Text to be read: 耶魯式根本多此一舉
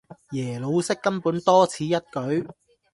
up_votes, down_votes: 2, 0